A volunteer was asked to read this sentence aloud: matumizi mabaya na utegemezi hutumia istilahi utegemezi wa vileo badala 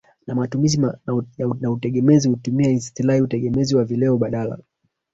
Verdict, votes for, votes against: rejected, 1, 2